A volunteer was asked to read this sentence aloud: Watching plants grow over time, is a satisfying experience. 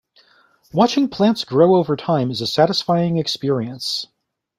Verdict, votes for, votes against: accepted, 2, 0